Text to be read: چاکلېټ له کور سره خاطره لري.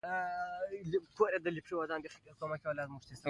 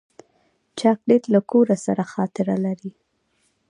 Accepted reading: second